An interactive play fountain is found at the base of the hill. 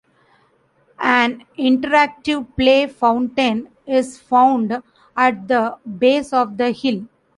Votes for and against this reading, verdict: 2, 0, accepted